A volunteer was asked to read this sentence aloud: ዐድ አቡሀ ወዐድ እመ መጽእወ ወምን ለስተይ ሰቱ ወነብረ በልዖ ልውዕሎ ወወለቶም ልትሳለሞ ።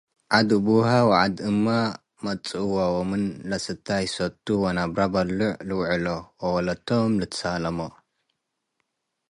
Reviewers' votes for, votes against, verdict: 2, 0, accepted